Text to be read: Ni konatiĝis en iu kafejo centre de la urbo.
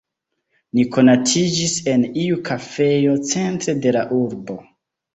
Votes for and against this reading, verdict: 2, 0, accepted